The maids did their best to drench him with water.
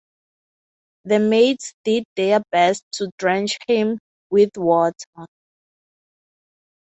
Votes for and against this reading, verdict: 6, 0, accepted